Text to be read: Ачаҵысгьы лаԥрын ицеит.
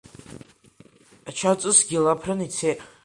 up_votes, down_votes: 2, 0